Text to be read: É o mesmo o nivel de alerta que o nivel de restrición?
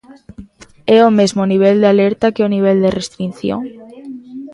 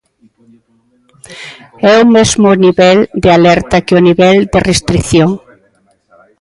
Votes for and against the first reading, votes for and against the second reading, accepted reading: 0, 2, 2, 0, second